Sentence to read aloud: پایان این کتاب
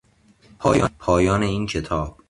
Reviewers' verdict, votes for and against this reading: rejected, 0, 2